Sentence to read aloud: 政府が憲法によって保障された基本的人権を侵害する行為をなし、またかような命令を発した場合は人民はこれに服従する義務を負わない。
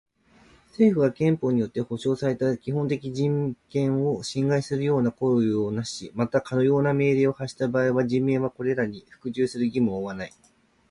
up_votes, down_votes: 1, 2